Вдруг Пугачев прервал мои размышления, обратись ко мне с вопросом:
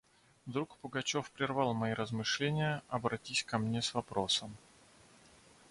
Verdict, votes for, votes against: accepted, 2, 0